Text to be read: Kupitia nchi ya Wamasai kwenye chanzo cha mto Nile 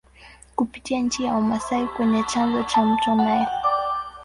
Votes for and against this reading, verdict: 1, 2, rejected